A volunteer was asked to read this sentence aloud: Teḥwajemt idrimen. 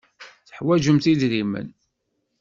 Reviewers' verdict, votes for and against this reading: accepted, 2, 0